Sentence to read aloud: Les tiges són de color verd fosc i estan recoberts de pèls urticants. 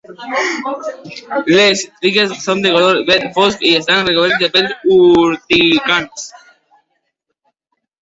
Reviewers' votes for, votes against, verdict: 0, 2, rejected